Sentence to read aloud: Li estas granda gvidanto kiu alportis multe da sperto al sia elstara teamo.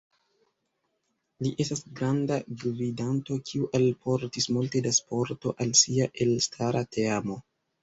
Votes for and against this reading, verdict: 0, 2, rejected